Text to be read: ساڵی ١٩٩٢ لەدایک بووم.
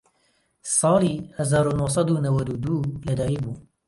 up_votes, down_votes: 0, 2